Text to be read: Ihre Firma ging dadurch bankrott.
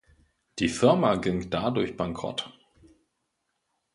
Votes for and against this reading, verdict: 1, 2, rejected